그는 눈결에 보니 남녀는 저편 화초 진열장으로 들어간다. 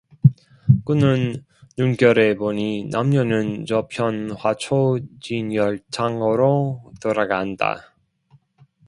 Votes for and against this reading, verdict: 0, 2, rejected